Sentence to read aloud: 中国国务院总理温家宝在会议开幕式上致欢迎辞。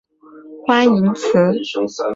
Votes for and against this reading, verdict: 1, 2, rejected